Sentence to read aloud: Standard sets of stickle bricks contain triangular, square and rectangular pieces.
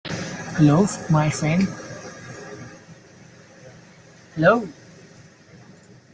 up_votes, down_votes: 0, 2